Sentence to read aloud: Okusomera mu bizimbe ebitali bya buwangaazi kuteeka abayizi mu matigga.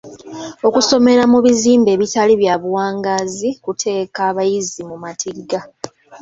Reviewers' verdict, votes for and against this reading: accepted, 2, 0